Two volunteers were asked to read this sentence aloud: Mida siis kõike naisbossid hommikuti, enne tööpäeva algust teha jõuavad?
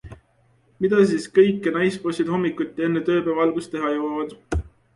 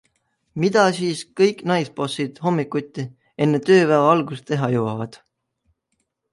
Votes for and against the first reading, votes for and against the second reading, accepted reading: 2, 0, 0, 2, first